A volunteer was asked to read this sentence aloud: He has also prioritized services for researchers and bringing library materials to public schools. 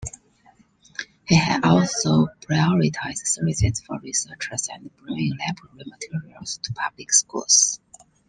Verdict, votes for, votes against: rejected, 1, 2